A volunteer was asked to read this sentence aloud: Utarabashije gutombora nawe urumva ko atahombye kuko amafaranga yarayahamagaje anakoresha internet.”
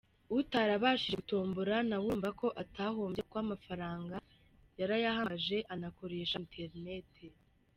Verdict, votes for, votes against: accepted, 2, 1